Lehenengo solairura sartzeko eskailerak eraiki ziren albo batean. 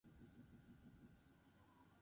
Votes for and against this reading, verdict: 0, 8, rejected